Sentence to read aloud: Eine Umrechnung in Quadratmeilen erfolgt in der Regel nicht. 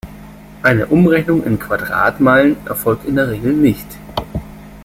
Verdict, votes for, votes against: rejected, 1, 2